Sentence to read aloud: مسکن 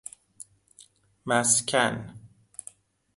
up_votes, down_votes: 2, 0